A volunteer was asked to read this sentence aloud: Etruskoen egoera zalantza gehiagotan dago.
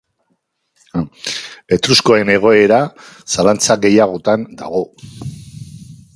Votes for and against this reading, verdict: 4, 0, accepted